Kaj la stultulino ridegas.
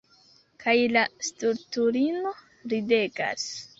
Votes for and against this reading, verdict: 2, 1, accepted